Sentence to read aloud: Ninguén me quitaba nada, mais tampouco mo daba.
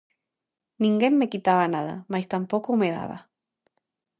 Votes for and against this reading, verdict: 0, 2, rejected